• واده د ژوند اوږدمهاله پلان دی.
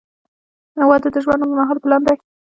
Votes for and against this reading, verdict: 2, 0, accepted